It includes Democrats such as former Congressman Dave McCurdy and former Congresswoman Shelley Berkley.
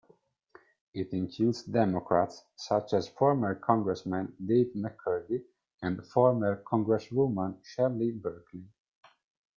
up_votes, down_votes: 0, 2